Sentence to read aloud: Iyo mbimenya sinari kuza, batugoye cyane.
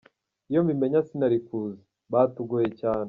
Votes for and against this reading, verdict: 2, 1, accepted